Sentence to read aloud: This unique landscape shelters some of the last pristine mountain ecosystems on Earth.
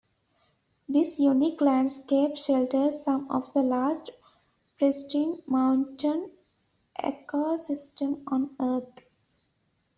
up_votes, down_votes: 0, 2